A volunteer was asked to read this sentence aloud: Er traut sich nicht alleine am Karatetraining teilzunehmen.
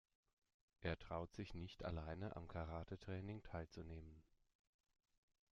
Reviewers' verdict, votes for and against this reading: accepted, 2, 1